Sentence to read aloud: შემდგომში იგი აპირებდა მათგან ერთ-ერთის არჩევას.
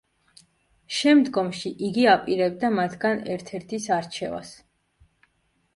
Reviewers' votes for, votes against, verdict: 2, 0, accepted